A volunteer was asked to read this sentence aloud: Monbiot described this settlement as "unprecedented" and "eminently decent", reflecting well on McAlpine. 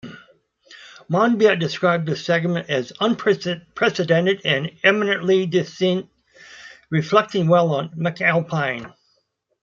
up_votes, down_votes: 1, 2